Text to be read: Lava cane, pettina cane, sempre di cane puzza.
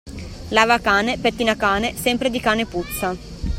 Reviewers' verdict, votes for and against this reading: accepted, 2, 0